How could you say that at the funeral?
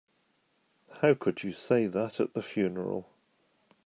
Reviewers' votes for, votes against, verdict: 2, 0, accepted